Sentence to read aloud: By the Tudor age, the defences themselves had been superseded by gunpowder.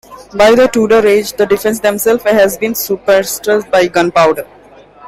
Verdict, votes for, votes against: accepted, 2, 1